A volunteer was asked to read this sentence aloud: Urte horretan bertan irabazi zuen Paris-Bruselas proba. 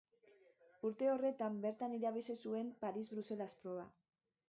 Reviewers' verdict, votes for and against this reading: rejected, 0, 2